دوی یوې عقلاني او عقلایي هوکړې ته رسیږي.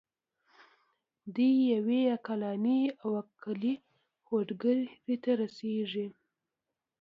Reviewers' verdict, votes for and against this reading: accepted, 2, 1